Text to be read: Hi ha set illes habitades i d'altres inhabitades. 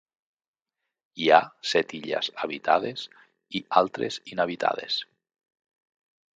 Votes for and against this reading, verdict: 0, 2, rejected